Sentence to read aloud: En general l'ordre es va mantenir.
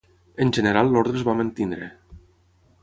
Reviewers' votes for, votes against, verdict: 3, 3, rejected